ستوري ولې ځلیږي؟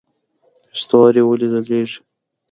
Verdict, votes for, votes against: rejected, 0, 2